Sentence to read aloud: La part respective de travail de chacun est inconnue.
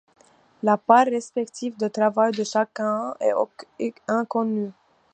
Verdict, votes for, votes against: rejected, 0, 2